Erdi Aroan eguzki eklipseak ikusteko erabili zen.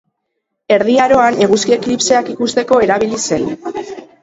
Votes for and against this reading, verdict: 2, 0, accepted